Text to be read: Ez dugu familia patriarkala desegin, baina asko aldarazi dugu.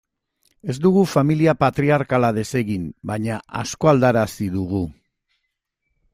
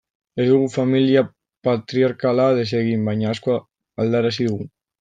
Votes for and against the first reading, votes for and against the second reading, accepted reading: 2, 0, 0, 2, first